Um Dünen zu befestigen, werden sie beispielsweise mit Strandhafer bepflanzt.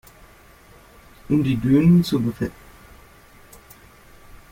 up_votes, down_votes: 0, 2